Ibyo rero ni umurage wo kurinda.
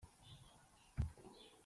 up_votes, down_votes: 0, 2